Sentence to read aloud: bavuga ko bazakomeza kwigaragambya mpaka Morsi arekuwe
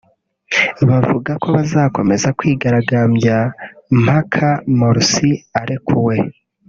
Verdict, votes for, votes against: accepted, 3, 1